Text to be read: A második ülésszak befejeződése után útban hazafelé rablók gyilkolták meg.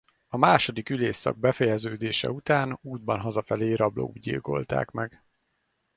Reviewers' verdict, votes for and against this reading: accepted, 4, 0